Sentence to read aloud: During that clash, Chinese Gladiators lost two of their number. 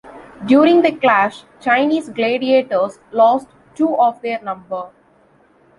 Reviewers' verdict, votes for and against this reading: rejected, 0, 2